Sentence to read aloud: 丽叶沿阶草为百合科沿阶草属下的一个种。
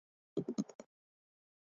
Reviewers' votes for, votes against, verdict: 1, 3, rejected